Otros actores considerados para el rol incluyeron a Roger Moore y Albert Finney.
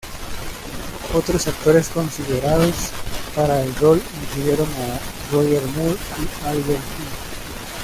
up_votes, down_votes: 1, 2